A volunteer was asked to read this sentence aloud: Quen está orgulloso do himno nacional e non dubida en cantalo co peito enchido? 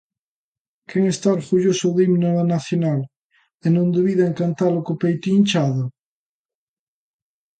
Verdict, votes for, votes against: rejected, 0, 2